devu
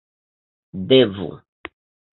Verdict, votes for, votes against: accepted, 2, 0